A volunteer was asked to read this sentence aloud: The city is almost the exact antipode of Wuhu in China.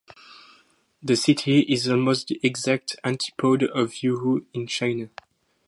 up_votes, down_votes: 0, 2